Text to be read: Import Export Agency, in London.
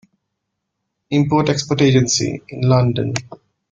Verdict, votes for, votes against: rejected, 1, 2